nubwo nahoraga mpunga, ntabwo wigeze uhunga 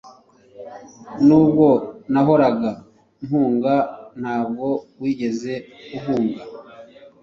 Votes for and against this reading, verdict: 2, 0, accepted